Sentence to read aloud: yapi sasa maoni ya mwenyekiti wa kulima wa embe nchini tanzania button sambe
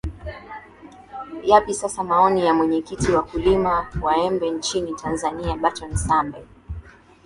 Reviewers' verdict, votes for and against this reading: accepted, 2, 0